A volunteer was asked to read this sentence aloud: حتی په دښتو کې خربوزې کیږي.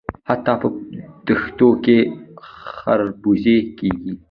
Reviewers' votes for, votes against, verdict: 0, 2, rejected